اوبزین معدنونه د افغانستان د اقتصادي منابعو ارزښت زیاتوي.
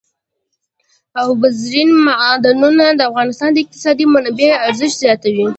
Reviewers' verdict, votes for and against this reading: accepted, 2, 0